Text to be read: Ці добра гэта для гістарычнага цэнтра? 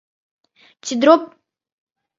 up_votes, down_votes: 0, 3